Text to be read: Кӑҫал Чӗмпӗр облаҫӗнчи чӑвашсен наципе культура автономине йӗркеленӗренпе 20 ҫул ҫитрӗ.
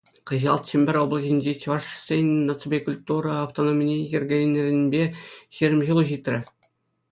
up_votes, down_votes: 0, 2